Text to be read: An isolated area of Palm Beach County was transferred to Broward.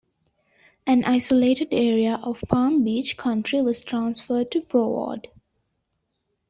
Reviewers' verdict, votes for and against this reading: rejected, 1, 2